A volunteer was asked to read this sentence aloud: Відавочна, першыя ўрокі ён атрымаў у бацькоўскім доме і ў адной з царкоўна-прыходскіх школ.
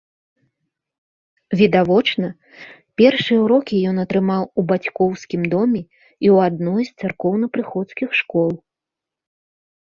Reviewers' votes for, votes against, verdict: 2, 0, accepted